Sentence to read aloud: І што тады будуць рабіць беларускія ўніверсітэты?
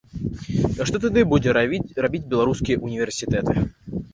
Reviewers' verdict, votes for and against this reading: rejected, 0, 2